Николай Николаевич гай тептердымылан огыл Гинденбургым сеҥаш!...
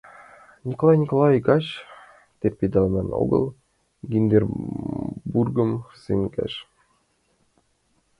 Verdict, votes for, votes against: rejected, 0, 2